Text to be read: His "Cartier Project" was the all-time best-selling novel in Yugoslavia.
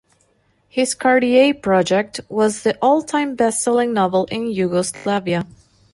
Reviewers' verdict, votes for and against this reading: accepted, 2, 0